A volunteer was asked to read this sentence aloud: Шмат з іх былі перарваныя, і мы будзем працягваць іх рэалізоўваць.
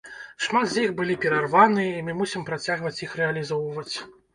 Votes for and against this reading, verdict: 1, 2, rejected